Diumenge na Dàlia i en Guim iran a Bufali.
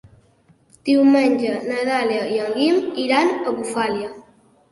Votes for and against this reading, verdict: 1, 2, rejected